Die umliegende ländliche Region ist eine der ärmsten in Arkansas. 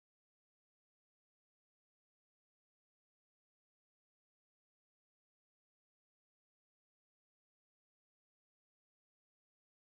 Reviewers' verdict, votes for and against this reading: rejected, 0, 4